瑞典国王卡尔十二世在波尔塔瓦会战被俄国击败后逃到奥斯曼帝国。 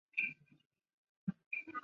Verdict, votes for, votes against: accepted, 2, 1